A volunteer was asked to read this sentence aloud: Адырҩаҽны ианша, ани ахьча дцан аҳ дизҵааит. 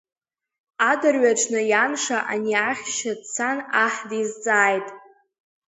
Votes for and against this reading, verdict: 1, 2, rejected